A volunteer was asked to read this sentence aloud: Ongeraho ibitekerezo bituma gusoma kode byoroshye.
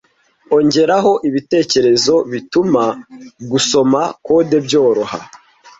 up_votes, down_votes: 0, 2